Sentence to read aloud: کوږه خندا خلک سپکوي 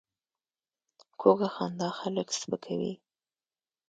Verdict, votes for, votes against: rejected, 0, 2